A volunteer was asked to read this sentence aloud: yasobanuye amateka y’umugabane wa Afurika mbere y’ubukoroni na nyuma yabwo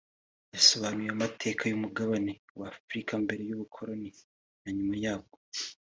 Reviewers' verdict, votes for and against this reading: accepted, 2, 0